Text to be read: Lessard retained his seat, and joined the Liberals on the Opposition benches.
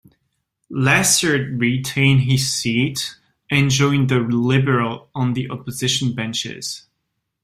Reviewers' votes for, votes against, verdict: 0, 2, rejected